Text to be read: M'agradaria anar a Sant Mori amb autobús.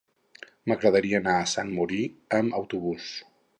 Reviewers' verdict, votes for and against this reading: rejected, 0, 4